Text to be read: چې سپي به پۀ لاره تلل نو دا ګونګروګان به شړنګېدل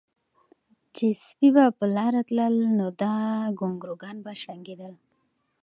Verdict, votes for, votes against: accepted, 2, 0